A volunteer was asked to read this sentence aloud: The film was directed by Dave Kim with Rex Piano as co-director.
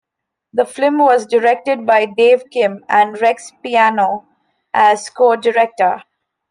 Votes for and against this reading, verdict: 0, 2, rejected